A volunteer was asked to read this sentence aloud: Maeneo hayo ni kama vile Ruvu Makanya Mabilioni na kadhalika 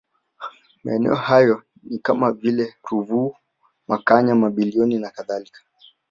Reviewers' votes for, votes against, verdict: 3, 0, accepted